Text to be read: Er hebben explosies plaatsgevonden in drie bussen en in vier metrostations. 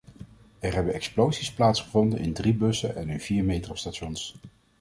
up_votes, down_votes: 2, 0